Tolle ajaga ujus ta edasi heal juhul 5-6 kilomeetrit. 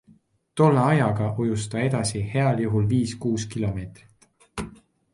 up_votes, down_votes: 0, 2